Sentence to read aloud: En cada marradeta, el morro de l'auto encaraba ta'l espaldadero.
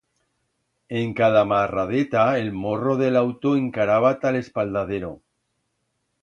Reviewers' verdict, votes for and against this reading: accepted, 2, 0